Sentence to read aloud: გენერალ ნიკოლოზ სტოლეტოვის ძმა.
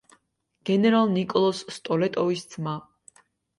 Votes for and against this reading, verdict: 2, 0, accepted